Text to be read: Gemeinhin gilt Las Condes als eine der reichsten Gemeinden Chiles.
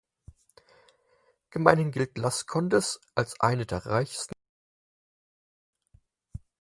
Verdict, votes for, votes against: rejected, 0, 4